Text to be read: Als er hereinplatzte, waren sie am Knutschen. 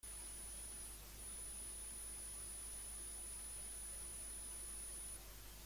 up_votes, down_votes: 0, 2